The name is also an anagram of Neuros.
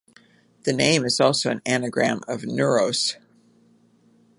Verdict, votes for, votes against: accepted, 2, 0